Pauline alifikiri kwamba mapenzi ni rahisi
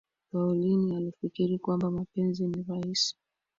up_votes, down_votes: 2, 0